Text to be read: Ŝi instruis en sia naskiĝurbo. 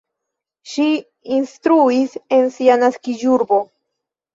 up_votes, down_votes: 0, 2